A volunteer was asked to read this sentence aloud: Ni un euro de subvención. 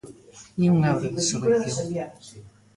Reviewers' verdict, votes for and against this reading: rejected, 1, 2